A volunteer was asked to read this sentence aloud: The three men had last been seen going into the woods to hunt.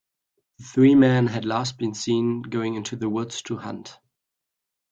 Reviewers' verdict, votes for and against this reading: rejected, 1, 2